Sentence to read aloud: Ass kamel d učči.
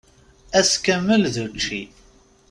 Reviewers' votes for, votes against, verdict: 2, 0, accepted